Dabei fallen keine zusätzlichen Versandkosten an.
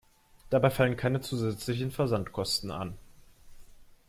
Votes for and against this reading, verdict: 2, 0, accepted